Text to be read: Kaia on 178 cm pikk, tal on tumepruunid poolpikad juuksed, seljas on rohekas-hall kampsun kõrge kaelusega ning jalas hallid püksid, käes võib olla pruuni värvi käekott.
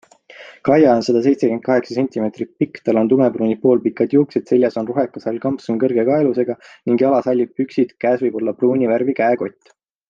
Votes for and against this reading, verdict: 0, 2, rejected